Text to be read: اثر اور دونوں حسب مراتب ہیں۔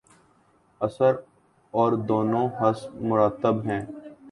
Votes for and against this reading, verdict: 2, 0, accepted